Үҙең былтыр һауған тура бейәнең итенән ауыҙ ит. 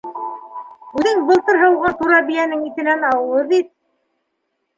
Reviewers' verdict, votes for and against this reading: accepted, 2, 1